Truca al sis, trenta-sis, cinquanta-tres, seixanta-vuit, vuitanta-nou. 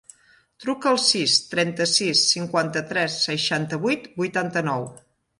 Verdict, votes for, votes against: accepted, 3, 0